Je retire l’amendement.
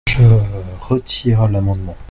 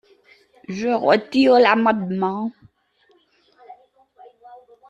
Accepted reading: second